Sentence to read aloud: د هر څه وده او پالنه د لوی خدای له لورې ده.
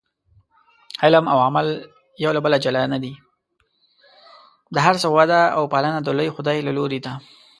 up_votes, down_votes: 0, 2